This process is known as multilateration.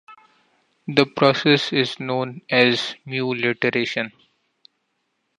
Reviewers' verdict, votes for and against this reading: rejected, 1, 2